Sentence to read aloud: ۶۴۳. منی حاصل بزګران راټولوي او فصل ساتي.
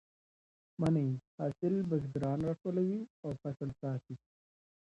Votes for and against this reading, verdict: 0, 2, rejected